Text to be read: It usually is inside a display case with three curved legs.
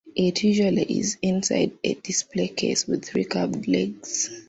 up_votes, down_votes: 2, 1